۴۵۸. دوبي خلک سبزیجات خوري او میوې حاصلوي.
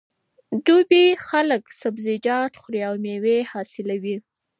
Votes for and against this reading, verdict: 0, 2, rejected